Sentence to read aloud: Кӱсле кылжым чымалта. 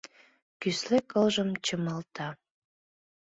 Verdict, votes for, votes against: accepted, 2, 0